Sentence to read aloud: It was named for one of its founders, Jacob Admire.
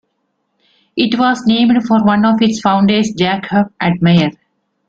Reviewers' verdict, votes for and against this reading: accepted, 2, 0